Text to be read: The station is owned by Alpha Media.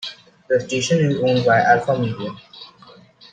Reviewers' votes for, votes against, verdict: 2, 0, accepted